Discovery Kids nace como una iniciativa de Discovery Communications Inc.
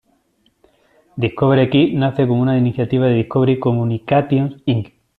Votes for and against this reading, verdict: 2, 0, accepted